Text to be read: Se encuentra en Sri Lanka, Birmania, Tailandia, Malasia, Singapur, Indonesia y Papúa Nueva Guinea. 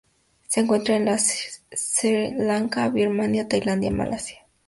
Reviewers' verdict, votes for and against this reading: rejected, 0, 4